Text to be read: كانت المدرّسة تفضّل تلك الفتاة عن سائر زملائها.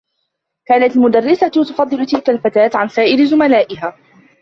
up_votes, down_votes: 2, 0